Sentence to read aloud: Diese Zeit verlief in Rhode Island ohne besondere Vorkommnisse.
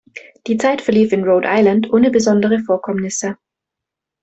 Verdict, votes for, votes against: rejected, 0, 2